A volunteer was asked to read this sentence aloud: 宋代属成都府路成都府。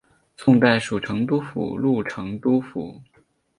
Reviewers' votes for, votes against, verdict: 0, 2, rejected